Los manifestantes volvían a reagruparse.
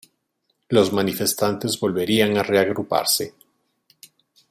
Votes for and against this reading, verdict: 1, 2, rejected